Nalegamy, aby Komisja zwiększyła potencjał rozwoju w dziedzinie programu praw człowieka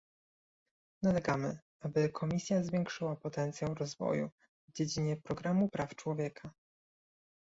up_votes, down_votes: 2, 0